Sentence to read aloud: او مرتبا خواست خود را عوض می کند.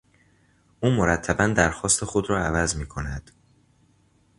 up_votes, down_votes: 0, 2